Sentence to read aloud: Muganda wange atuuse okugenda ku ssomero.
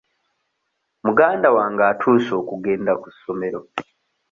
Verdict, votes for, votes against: accepted, 2, 0